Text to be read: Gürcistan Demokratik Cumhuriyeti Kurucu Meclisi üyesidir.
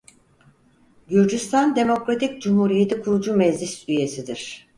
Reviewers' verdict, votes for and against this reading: accepted, 4, 0